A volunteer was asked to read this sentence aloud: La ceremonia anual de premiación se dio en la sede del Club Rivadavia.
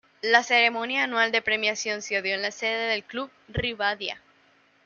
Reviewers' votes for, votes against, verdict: 1, 2, rejected